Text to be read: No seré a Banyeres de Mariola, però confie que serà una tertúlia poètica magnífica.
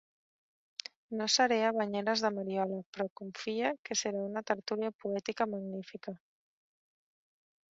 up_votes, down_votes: 1, 2